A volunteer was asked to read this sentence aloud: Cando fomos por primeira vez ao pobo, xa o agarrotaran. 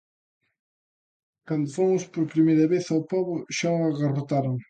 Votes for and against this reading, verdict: 2, 0, accepted